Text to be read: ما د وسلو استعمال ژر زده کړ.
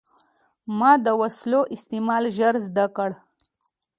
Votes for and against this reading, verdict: 2, 0, accepted